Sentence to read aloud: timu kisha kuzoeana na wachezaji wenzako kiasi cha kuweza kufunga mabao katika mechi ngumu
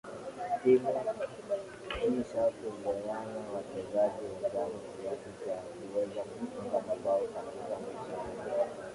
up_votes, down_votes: 0, 4